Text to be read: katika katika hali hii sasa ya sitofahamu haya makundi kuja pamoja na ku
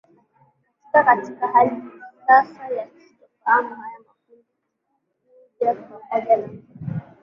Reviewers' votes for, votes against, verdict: 1, 4, rejected